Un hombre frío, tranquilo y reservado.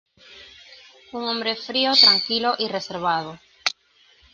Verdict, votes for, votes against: accepted, 2, 0